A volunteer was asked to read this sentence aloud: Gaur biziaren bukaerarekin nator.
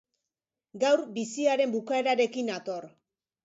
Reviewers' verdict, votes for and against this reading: accepted, 3, 0